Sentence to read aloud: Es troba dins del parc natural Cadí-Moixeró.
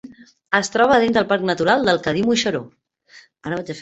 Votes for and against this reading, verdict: 1, 2, rejected